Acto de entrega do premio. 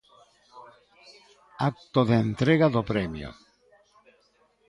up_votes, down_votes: 2, 1